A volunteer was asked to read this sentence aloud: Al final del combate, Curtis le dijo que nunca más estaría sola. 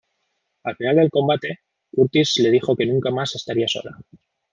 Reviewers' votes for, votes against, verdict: 2, 0, accepted